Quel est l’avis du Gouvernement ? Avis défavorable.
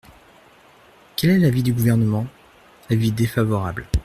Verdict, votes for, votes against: accepted, 2, 0